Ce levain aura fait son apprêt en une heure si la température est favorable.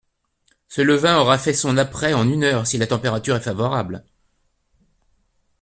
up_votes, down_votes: 2, 0